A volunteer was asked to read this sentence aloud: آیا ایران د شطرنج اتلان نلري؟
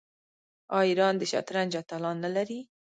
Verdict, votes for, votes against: accepted, 2, 1